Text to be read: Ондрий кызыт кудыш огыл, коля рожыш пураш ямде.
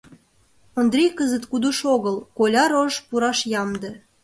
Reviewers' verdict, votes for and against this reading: accepted, 2, 0